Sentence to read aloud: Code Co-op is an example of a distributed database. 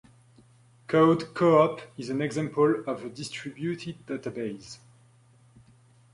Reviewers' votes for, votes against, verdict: 2, 0, accepted